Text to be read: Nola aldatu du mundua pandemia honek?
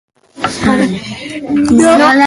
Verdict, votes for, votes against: rejected, 0, 2